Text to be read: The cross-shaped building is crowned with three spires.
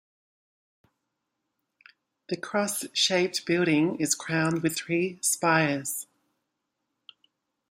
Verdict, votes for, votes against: accepted, 2, 0